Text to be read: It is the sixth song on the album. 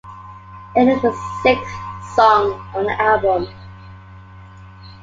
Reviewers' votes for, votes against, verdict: 2, 0, accepted